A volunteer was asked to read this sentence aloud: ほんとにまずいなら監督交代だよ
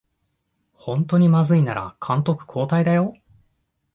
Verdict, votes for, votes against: accepted, 2, 0